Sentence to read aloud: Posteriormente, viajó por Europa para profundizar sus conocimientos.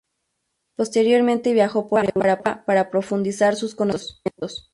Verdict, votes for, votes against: rejected, 0, 2